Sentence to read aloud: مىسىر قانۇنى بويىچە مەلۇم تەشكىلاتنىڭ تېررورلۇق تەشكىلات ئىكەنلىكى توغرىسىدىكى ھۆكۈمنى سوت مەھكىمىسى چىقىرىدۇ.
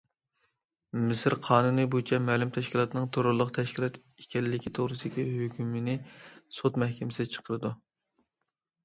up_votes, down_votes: 0, 2